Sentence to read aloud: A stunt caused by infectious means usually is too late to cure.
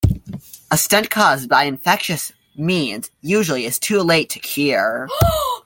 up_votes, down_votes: 0, 2